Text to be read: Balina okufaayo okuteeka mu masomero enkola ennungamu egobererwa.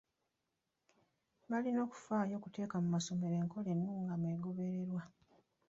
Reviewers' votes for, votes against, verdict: 1, 2, rejected